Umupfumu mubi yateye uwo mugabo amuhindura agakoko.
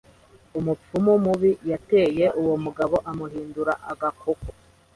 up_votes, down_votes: 2, 0